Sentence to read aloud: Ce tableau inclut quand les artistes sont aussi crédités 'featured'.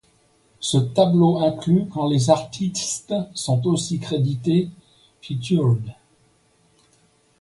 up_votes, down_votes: 2, 0